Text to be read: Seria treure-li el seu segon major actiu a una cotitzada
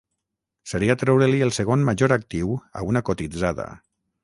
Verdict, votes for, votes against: accepted, 6, 0